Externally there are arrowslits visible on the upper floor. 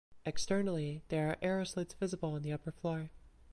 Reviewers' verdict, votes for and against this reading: accepted, 2, 0